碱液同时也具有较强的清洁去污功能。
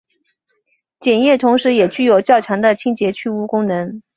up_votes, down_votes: 2, 1